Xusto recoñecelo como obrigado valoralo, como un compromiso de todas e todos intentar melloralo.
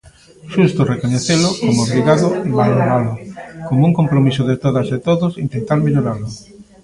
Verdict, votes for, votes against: rejected, 0, 2